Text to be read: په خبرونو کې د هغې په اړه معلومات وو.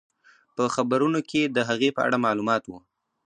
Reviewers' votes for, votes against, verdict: 2, 0, accepted